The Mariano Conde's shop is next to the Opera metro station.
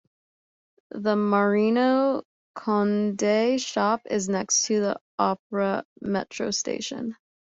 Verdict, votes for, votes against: accepted, 2, 1